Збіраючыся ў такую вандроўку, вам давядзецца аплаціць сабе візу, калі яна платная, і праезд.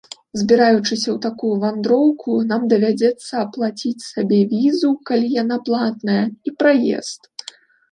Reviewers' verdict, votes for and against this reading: rejected, 1, 2